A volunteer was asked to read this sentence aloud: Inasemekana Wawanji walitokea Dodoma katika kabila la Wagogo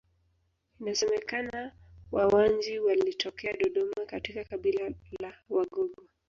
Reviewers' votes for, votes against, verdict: 1, 3, rejected